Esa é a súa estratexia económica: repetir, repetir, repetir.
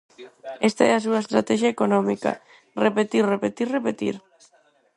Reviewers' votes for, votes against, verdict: 0, 4, rejected